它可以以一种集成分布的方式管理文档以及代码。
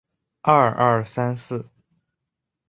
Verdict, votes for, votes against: rejected, 1, 2